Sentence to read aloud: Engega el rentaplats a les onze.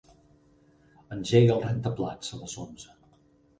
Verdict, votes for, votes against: rejected, 2, 4